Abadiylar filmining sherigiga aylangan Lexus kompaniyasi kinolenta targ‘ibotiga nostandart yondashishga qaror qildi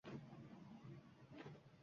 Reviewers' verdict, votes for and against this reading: rejected, 0, 2